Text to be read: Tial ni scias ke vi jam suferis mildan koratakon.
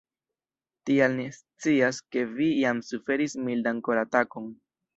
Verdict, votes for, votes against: rejected, 1, 2